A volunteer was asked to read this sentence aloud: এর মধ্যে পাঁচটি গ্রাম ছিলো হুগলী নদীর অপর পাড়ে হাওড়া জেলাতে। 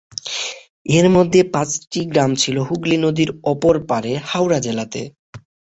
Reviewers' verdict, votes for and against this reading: accepted, 3, 0